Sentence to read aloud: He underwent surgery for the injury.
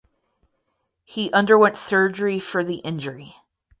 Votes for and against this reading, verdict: 4, 0, accepted